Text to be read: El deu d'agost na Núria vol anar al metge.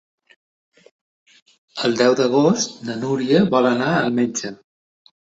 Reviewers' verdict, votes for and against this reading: accepted, 2, 0